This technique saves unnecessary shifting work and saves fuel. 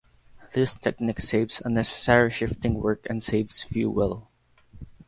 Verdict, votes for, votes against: rejected, 0, 2